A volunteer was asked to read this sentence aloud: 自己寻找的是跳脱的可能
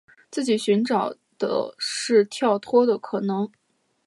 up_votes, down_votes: 2, 0